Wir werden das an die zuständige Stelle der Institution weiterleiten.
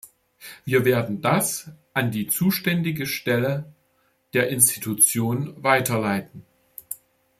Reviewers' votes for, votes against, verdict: 2, 1, accepted